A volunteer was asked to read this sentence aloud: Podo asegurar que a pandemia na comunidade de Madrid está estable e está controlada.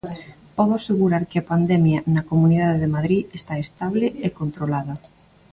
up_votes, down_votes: 2, 1